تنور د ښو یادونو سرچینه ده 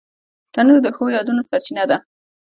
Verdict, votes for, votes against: rejected, 0, 2